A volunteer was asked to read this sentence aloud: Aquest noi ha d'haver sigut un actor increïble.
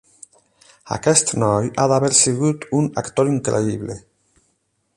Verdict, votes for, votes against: accepted, 8, 0